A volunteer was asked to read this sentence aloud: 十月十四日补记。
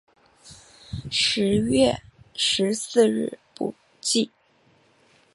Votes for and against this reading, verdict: 1, 2, rejected